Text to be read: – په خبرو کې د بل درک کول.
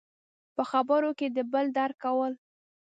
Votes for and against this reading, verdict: 2, 1, accepted